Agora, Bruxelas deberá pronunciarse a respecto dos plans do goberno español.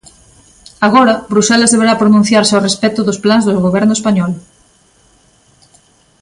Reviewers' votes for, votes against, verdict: 2, 1, accepted